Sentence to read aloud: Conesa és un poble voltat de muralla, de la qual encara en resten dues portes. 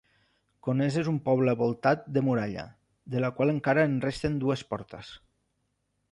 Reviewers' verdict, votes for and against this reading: accepted, 2, 0